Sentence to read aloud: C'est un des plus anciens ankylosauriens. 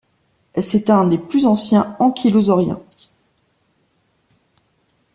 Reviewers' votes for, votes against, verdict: 2, 0, accepted